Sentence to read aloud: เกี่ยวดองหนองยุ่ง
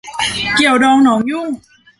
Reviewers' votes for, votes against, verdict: 0, 2, rejected